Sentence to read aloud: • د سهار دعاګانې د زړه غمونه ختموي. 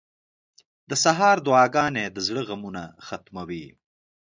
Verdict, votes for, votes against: accepted, 2, 0